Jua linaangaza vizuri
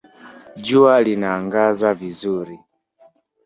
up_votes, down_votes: 1, 2